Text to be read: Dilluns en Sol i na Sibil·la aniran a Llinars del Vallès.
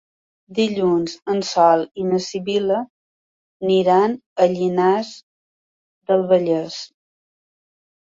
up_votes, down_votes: 1, 2